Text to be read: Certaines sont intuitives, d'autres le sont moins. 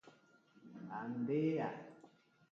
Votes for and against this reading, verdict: 0, 2, rejected